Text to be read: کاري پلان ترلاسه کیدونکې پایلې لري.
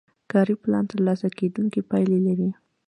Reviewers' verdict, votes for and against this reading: accepted, 2, 0